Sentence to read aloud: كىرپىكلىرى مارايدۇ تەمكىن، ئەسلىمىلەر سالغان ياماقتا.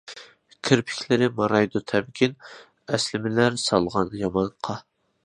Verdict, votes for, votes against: accepted, 2, 1